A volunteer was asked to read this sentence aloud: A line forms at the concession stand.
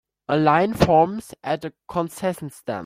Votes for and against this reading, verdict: 2, 0, accepted